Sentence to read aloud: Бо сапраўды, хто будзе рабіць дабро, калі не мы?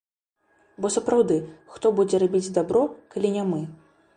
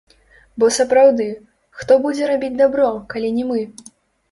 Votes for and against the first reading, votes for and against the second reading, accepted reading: 2, 0, 0, 2, first